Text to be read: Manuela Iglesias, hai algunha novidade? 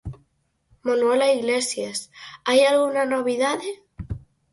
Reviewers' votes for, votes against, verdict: 0, 4, rejected